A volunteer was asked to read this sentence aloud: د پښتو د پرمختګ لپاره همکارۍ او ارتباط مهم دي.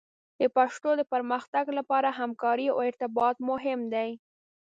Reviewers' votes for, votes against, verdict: 2, 0, accepted